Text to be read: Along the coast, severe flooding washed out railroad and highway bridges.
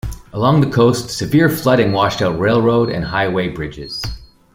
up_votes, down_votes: 2, 0